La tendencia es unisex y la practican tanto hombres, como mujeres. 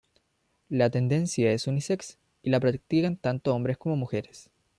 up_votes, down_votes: 0, 2